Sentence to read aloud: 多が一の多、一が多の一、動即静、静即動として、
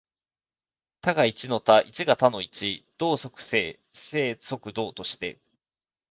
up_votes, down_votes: 2, 1